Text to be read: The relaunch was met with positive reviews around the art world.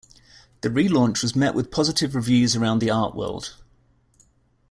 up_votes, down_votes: 2, 0